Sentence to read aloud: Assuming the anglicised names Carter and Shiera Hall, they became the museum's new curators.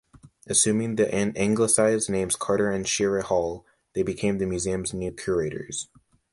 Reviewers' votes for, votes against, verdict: 1, 2, rejected